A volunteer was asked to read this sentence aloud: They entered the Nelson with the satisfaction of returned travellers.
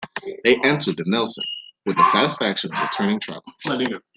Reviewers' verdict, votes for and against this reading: rejected, 0, 2